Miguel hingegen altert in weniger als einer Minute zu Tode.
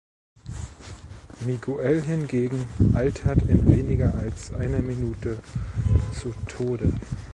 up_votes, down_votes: 2, 0